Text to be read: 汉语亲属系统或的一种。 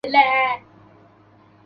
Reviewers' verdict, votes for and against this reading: rejected, 0, 3